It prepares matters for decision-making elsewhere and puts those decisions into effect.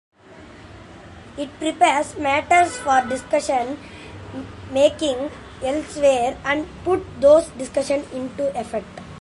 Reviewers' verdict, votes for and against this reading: rejected, 0, 2